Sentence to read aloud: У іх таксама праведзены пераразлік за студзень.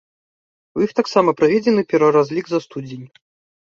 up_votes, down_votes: 2, 0